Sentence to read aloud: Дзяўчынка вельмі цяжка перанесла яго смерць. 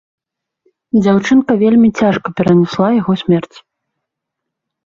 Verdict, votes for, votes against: rejected, 0, 2